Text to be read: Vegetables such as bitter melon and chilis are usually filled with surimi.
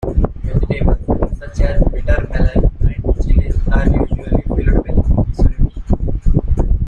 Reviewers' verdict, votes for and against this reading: rejected, 0, 2